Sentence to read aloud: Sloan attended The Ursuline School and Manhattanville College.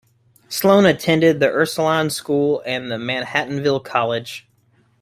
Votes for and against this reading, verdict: 1, 2, rejected